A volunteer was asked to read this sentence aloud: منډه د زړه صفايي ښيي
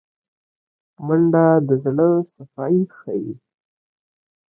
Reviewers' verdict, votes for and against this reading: accepted, 2, 0